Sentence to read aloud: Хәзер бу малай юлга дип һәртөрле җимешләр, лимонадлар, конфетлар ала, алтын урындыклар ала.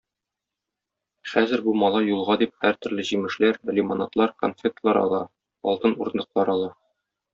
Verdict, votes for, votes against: accepted, 2, 0